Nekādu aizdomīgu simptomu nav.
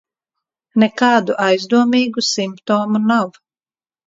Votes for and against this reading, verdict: 1, 2, rejected